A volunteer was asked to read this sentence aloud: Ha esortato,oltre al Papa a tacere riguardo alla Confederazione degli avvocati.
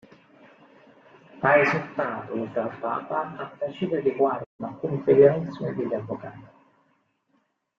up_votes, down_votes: 0, 2